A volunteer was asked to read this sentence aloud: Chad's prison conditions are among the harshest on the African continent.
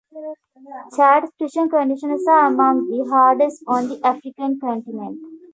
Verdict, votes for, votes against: accepted, 2, 1